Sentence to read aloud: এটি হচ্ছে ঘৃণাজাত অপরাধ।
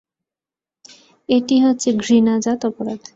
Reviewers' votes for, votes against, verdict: 2, 0, accepted